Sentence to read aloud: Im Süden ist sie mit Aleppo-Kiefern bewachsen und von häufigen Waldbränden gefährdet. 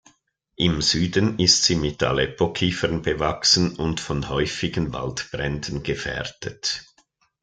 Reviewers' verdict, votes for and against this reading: accepted, 2, 0